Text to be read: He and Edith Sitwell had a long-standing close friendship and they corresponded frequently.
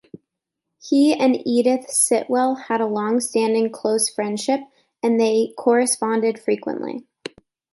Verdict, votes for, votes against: accepted, 2, 0